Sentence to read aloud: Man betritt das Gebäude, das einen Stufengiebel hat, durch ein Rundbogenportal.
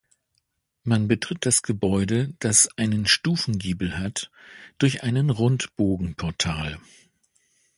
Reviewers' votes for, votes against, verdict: 1, 2, rejected